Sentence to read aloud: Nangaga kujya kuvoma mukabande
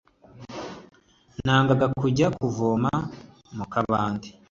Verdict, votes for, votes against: accepted, 2, 0